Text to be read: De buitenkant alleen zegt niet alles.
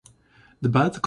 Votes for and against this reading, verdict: 0, 2, rejected